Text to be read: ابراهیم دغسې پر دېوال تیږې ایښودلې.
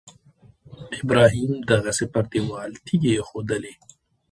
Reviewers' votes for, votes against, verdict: 2, 0, accepted